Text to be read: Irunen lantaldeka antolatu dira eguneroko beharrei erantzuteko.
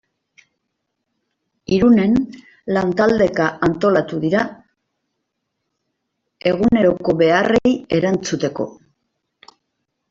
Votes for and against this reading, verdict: 1, 2, rejected